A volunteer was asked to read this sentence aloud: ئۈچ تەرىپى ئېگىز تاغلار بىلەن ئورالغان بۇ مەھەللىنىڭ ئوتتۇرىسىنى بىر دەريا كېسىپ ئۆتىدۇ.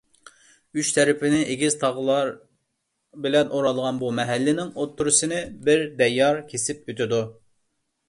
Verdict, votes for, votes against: rejected, 1, 2